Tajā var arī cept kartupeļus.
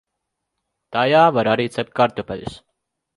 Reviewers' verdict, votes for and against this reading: accepted, 2, 0